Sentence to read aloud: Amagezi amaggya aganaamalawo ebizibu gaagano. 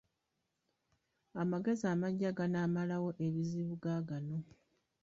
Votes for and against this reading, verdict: 1, 2, rejected